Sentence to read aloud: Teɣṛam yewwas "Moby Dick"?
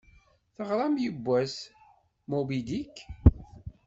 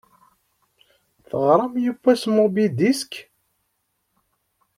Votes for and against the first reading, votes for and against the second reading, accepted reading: 2, 0, 0, 2, first